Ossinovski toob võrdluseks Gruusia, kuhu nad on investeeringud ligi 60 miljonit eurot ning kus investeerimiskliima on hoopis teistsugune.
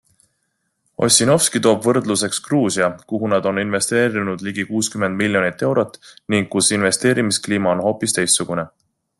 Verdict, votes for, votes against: rejected, 0, 2